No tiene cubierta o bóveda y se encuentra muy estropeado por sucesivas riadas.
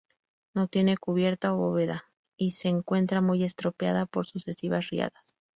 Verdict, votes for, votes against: rejected, 2, 2